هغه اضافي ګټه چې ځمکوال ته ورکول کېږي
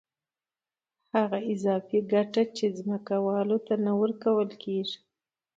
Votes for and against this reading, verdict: 2, 0, accepted